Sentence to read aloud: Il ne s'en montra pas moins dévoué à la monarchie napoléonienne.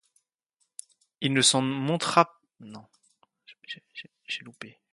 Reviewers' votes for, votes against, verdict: 1, 2, rejected